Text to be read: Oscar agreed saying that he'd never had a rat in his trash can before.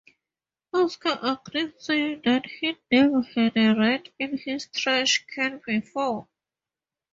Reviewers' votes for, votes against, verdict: 2, 0, accepted